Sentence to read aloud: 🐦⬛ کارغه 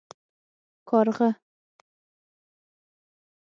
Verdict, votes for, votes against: rejected, 3, 6